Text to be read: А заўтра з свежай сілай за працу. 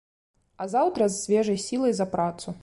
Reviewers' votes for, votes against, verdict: 2, 0, accepted